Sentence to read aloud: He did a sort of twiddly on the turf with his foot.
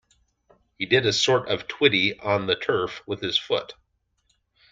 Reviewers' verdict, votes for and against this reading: accepted, 2, 0